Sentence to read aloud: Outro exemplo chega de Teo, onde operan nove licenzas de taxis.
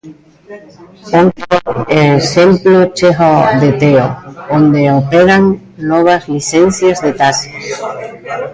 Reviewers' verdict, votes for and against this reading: rejected, 0, 2